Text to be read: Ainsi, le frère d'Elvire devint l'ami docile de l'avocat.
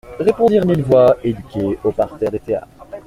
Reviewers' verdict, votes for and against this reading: rejected, 0, 2